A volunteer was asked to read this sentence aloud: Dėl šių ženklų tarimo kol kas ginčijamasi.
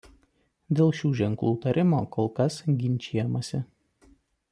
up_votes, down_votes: 2, 0